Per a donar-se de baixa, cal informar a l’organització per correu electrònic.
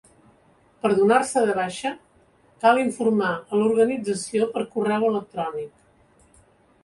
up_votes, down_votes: 0, 2